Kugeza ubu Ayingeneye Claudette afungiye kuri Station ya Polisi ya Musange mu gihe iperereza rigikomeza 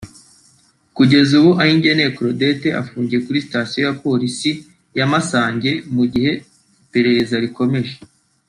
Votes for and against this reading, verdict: 1, 3, rejected